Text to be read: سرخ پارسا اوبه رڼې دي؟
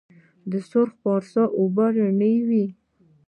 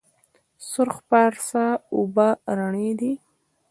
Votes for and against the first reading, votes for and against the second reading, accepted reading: 1, 2, 2, 1, second